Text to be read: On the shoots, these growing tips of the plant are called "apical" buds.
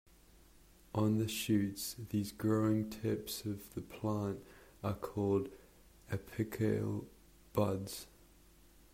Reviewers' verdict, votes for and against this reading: accepted, 2, 0